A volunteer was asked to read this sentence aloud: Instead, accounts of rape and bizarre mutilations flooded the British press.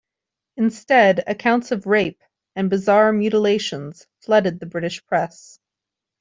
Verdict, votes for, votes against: rejected, 1, 2